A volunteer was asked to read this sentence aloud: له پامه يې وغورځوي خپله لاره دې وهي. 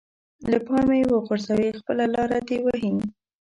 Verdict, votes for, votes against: accepted, 2, 0